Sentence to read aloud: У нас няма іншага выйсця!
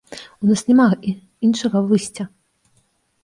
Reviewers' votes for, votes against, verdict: 0, 2, rejected